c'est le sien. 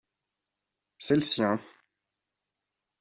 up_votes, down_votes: 2, 0